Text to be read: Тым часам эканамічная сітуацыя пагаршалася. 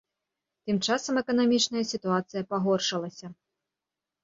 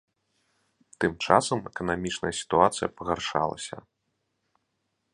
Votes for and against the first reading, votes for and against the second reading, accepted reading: 0, 2, 2, 0, second